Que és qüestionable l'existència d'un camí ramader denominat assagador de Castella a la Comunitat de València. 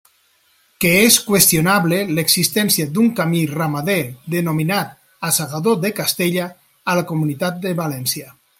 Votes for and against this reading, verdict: 2, 0, accepted